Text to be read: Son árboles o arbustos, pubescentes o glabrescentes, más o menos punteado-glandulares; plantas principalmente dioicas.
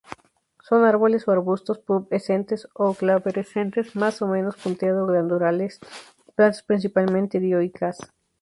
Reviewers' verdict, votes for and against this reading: accepted, 2, 0